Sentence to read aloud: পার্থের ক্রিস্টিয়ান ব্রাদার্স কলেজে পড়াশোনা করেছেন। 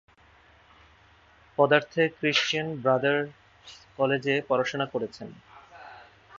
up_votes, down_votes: 0, 6